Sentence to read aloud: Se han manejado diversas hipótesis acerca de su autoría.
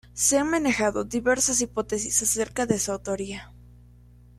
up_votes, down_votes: 0, 2